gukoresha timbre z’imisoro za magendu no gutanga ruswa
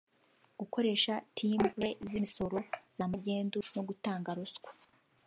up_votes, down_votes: 1, 2